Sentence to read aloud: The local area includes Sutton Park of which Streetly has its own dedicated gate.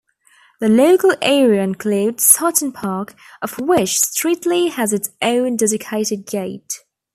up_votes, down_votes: 2, 0